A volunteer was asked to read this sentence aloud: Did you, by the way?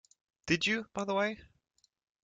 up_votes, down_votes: 2, 0